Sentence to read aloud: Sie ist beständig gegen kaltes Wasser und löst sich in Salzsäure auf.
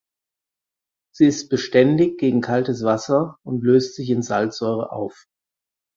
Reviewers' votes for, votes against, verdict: 4, 0, accepted